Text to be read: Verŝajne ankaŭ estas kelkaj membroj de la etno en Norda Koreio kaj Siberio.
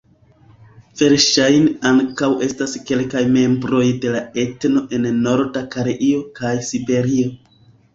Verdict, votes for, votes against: rejected, 0, 2